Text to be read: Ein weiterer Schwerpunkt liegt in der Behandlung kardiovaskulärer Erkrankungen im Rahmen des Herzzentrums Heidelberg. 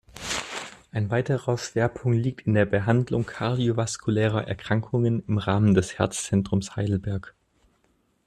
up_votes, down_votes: 2, 1